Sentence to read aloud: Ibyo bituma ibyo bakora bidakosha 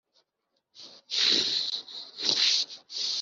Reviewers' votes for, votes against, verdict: 0, 3, rejected